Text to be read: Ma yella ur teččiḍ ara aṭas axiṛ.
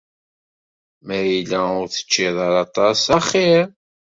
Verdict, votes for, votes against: accepted, 2, 0